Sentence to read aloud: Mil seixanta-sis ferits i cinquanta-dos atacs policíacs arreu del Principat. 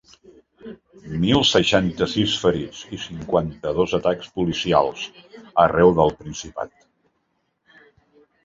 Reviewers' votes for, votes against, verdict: 1, 3, rejected